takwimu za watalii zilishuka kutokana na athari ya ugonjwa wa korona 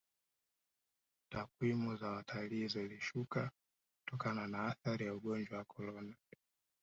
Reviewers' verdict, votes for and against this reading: rejected, 0, 2